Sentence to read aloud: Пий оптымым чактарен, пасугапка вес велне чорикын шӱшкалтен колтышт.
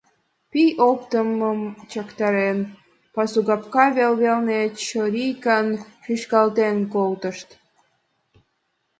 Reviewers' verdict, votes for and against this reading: rejected, 1, 2